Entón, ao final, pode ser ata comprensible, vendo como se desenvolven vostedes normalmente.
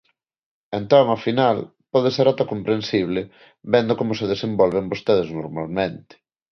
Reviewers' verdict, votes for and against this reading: accepted, 2, 0